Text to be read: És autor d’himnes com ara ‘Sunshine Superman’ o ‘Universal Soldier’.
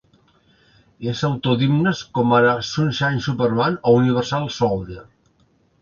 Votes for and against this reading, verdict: 1, 2, rejected